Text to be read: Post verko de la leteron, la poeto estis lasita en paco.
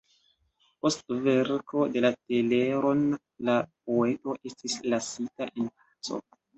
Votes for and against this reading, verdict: 0, 2, rejected